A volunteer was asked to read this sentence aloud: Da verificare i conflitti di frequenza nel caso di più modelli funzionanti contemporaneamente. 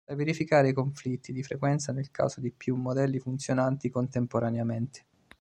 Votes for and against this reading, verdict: 2, 0, accepted